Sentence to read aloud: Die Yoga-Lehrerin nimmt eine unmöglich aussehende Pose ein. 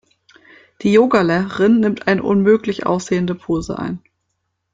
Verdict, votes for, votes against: rejected, 1, 2